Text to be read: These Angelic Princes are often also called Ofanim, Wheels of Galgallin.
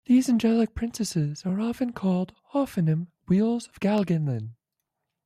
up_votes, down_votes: 1, 2